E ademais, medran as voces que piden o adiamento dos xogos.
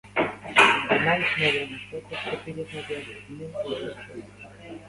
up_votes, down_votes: 0, 2